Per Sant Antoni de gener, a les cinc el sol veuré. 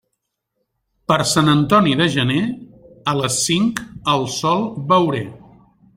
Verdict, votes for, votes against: accepted, 2, 0